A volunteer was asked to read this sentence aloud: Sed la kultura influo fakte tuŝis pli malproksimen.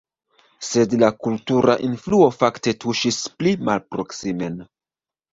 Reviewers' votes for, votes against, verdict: 2, 1, accepted